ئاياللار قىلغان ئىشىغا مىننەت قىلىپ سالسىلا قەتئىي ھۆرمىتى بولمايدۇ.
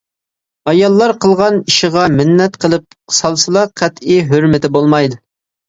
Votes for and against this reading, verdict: 2, 0, accepted